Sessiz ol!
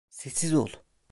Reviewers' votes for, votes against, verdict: 2, 0, accepted